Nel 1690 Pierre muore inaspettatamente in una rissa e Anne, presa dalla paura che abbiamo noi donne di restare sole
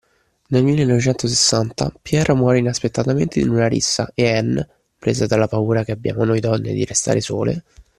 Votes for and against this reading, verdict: 0, 2, rejected